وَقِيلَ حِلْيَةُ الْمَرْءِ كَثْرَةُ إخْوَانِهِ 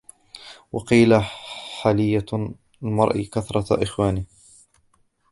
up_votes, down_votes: 2, 1